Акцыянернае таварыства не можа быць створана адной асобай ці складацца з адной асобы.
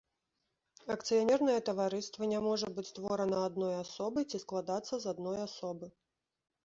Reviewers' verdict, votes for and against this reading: accepted, 2, 0